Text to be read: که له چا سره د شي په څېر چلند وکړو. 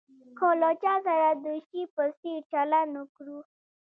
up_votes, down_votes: 2, 0